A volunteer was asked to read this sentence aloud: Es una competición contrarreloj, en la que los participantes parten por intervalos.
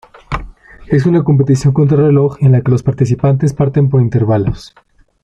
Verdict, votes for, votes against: accepted, 2, 0